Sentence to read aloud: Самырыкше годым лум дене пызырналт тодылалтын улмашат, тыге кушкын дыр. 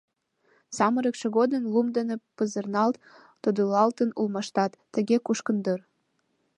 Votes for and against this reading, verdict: 2, 0, accepted